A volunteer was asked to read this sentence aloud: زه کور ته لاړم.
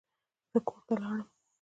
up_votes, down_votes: 0, 2